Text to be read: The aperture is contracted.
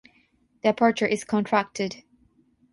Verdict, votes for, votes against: accepted, 6, 0